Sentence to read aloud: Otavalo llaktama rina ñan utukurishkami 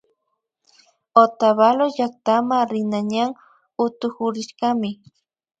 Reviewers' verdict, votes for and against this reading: accepted, 2, 0